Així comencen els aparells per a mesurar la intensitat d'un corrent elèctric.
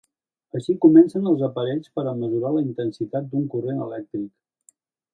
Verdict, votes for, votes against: accepted, 2, 0